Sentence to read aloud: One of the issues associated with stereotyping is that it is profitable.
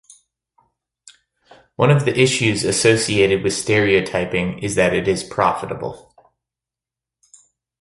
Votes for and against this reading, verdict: 2, 0, accepted